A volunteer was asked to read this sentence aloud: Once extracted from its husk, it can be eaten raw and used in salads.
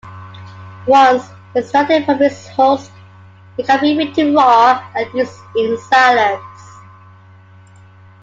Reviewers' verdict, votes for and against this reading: accepted, 2, 1